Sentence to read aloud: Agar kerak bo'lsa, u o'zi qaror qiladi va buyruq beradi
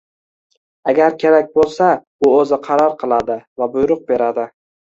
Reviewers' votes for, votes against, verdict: 2, 0, accepted